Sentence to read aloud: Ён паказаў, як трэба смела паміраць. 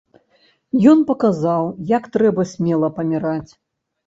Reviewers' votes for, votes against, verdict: 2, 0, accepted